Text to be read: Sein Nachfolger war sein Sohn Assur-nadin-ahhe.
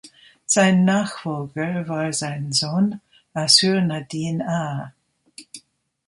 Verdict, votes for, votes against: rejected, 0, 2